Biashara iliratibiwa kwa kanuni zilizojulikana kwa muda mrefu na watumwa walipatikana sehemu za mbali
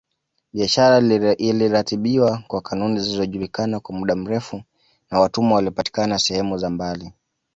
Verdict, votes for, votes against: rejected, 0, 2